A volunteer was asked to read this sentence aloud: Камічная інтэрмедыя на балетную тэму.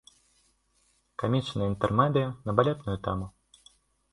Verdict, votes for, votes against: rejected, 1, 2